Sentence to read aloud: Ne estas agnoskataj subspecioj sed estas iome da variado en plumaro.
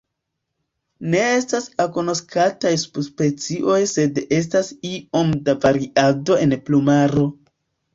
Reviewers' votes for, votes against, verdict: 0, 2, rejected